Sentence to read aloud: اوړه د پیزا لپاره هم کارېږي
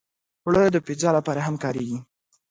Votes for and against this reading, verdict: 2, 0, accepted